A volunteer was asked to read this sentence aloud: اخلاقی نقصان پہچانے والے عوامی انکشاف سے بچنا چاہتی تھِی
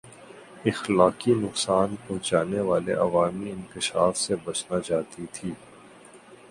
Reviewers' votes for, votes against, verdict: 3, 0, accepted